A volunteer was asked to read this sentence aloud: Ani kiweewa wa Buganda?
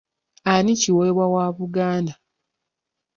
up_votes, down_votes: 2, 0